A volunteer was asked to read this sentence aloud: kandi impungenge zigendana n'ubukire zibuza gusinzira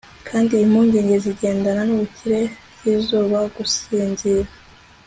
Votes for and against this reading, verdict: 2, 0, accepted